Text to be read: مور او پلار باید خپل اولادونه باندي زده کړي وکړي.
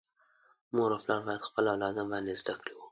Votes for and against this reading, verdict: 2, 1, accepted